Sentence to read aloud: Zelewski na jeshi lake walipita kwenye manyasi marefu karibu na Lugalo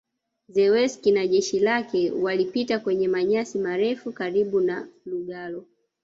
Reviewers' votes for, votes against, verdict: 1, 2, rejected